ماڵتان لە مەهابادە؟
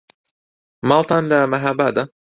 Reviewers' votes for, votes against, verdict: 2, 0, accepted